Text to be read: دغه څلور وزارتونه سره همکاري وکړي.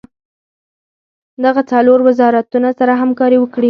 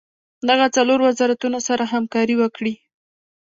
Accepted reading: second